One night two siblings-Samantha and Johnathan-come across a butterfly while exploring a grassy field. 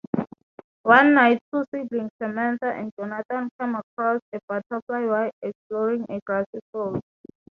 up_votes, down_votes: 3, 0